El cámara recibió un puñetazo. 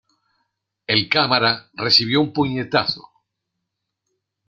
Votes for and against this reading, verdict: 2, 0, accepted